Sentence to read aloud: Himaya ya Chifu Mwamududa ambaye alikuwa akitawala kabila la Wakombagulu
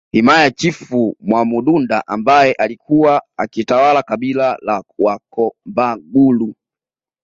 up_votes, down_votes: 2, 0